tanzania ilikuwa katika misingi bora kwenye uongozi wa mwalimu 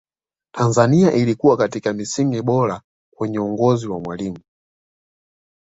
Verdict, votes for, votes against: accepted, 2, 1